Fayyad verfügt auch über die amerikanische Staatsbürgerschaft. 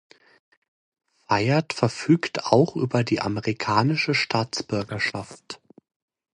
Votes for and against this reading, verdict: 2, 0, accepted